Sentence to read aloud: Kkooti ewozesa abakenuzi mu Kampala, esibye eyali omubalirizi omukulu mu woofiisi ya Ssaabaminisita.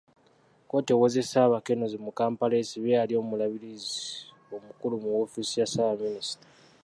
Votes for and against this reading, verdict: 1, 2, rejected